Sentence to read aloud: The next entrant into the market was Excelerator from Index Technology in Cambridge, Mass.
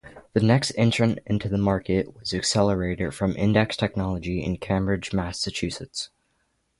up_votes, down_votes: 0, 3